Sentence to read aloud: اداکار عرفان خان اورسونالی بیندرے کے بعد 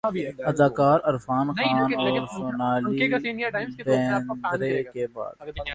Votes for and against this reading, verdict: 1, 2, rejected